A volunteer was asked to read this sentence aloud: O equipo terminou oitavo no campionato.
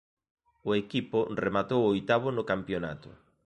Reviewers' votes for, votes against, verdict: 0, 2, rejected